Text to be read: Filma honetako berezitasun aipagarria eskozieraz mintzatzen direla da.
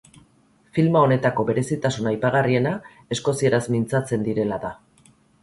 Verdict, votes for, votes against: rejected, 2, 2